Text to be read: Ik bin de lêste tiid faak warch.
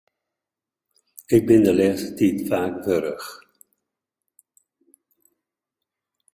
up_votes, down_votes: 0, 2